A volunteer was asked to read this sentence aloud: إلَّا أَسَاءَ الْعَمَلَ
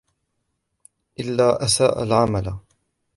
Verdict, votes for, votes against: accepted, 2, 0